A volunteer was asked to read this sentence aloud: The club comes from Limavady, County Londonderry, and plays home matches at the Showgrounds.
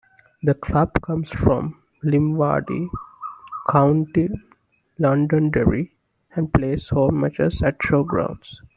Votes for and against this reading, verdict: 1, 2, rejected